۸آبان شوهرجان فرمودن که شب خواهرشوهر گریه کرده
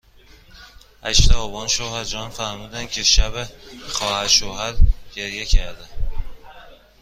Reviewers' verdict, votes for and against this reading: rejected, 0, 2